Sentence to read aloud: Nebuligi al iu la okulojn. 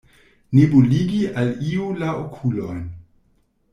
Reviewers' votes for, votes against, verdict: 1, 2, rejected